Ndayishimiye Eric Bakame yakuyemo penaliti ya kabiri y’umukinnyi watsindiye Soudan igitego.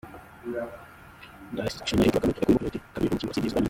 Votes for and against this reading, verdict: 0, 2, rejected